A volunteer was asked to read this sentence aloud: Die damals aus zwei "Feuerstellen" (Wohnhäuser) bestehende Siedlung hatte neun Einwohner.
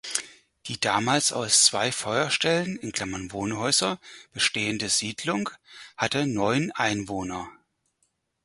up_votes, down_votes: 2, 4